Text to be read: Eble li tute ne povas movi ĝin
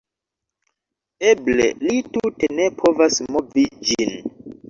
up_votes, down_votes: 2, 0